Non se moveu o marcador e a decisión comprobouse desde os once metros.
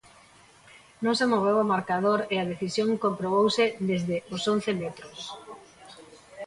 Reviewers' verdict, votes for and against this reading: rejected, 0, 2